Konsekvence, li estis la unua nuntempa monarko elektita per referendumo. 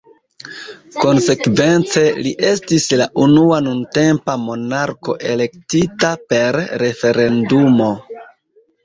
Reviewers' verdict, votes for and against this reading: accepted, 2, 0